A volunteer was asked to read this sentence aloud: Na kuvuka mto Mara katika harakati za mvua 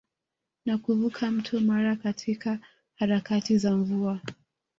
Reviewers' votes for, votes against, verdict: 2, 0, accepted